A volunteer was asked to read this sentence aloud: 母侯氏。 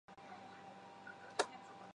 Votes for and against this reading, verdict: 0, 3, rejected